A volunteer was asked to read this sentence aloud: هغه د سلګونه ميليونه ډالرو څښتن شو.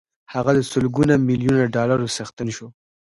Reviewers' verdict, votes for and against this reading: accepted, 2, 0